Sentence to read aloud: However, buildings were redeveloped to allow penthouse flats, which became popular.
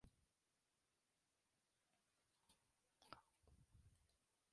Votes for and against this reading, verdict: 0, 2, rejected